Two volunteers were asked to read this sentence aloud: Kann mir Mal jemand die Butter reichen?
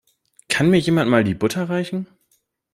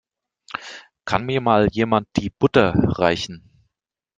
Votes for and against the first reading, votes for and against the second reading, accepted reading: 0, 2, 2, 0, second